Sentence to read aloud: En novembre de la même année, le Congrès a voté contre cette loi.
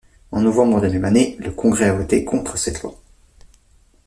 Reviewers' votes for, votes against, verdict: 0, 2, rejected